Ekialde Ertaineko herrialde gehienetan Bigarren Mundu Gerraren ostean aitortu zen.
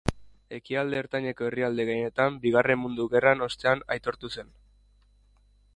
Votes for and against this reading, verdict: 1, 2, rejected